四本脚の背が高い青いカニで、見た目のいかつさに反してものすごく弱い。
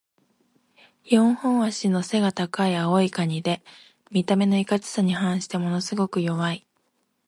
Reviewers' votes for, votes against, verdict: 1, 2, rejected